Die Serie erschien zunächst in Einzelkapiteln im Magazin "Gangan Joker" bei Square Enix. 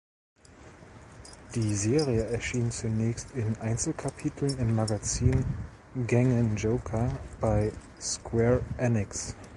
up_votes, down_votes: 2, 1